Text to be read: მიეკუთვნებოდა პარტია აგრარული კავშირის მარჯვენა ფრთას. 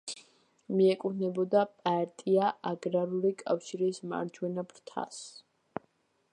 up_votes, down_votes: 2, 0